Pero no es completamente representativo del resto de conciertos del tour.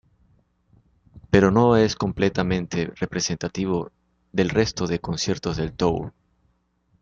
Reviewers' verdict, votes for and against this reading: accepted, 2, 1